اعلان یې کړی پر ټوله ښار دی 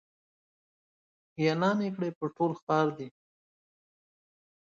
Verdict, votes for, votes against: rejected, 0, 2